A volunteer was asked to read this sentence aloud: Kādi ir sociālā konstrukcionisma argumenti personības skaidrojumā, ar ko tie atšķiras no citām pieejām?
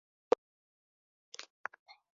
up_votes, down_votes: 0, 3